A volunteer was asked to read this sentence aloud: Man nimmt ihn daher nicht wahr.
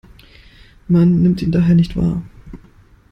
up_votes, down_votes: 2, 0